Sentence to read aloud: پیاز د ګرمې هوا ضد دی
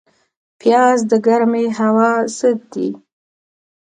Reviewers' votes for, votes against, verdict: 2, 0, accepted